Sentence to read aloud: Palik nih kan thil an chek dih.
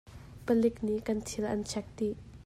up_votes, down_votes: 2, 0